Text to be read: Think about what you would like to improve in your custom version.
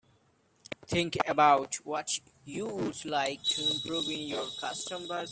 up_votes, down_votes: 0, 2